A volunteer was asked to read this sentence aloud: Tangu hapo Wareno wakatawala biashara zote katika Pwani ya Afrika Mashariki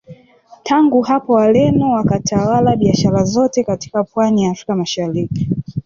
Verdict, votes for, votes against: rejected, 1, 2